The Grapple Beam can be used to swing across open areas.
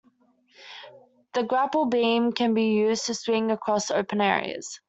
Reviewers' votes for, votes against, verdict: 2, 0, accepted